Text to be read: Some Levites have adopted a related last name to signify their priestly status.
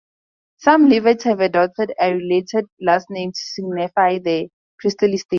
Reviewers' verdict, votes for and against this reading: rejected, 4, 8